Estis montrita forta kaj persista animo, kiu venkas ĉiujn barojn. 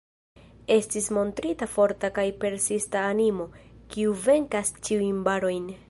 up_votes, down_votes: 2, 0